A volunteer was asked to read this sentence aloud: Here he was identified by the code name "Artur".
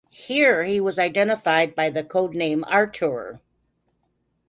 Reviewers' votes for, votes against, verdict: 3, 0, accepted